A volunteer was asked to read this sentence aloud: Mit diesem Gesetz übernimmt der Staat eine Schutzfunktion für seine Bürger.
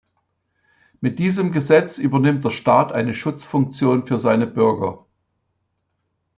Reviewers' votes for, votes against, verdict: 2, 0, accepted